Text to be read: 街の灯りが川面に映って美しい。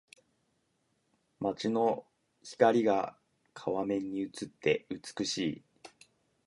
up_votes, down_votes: 0, 2